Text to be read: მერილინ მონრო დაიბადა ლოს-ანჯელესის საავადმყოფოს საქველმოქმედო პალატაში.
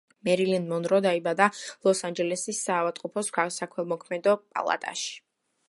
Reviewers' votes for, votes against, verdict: 2, 0, accepted